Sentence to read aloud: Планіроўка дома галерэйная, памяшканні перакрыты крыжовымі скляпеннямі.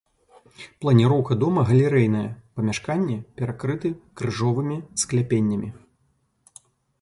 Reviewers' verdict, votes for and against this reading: accepted, 2, 0